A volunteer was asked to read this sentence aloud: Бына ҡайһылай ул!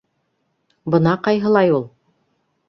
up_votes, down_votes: 2, 0